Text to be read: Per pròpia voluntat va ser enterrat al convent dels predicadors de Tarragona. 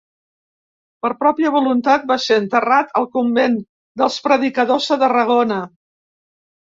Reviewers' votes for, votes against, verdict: 4, 0, accepted